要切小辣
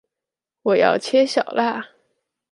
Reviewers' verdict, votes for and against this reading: rejected, 1, 2